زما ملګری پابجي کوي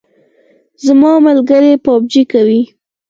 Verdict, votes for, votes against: rejected, 2, 4